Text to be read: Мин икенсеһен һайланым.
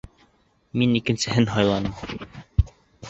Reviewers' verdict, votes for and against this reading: accepted, 2, 0